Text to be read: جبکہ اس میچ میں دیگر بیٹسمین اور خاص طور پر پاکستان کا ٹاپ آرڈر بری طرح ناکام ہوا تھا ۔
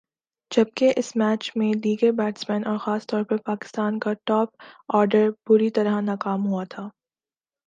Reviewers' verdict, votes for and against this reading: accepted, 2, 0